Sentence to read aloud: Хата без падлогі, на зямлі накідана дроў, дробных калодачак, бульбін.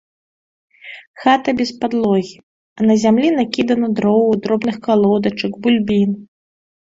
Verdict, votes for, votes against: rejected, 1, 2